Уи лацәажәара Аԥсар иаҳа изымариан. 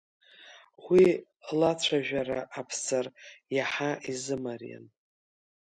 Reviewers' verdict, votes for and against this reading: rejected, 1, 2